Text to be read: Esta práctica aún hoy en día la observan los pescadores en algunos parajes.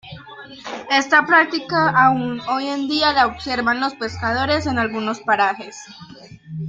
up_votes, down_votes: 2, 0